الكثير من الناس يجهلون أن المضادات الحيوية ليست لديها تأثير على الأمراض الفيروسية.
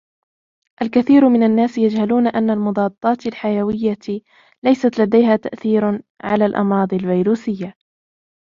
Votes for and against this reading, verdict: 2, 0, accepted